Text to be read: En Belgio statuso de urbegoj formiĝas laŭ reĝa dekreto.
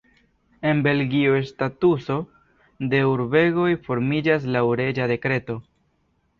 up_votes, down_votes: 2, 0